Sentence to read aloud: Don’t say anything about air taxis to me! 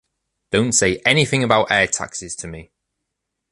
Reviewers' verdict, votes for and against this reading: accepted, 2, 0